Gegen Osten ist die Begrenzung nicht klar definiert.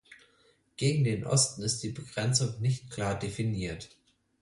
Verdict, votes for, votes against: rejected, 0, 6